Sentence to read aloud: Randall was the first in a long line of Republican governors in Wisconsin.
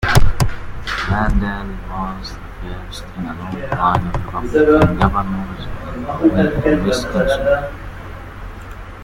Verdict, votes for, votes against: rejected, 0, 2